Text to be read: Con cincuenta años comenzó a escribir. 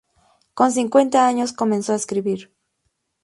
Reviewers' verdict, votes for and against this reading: accepted, 2, 0